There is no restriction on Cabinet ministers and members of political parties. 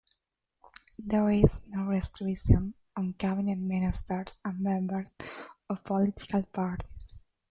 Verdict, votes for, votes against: rejected, 0, 2